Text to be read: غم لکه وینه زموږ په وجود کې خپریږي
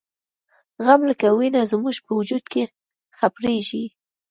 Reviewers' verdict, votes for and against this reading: accepted, 2, 1